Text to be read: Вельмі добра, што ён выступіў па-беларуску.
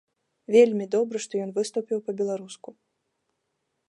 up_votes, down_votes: 2, 0